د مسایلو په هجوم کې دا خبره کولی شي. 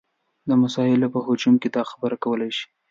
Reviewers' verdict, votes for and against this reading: accepted, 2, 1